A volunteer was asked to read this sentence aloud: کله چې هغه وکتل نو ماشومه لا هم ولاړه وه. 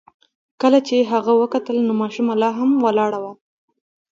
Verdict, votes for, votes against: accepted, 2, 1